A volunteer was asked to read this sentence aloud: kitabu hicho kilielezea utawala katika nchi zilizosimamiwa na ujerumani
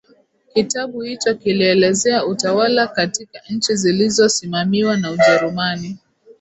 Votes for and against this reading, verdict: 2, 1, accepted